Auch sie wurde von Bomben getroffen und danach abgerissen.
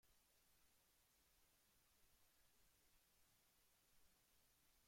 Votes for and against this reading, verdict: 0, 2, rejected